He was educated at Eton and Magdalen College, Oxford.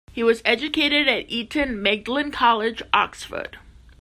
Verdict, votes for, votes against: rejected, 0, 2